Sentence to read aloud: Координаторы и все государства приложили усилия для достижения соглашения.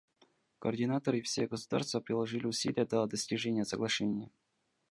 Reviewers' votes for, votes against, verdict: 1, 2, rejected